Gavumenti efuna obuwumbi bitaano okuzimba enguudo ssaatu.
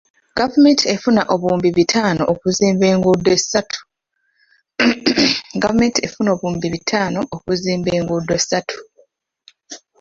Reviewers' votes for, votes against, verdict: 0, 2, rejected